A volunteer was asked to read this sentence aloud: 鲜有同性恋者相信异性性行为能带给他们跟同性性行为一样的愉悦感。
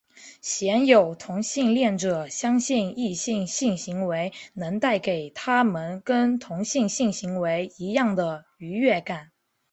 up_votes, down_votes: 4, 1